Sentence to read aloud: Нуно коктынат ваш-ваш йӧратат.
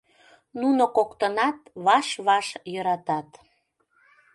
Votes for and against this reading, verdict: 2, 0, accepted